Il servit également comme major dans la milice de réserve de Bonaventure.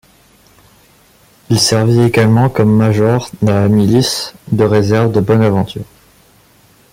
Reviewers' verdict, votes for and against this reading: accepted, 2, 0